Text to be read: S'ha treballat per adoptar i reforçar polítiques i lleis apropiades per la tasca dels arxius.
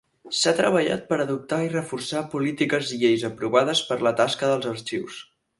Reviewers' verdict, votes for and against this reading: rejected, 0, 4